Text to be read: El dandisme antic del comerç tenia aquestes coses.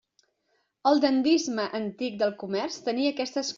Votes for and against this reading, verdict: 0, 2, rejected